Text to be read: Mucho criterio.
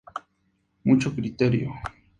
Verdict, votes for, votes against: accepted, 2, 0